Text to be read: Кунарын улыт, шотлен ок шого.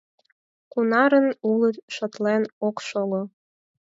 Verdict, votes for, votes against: accepted, 4, 0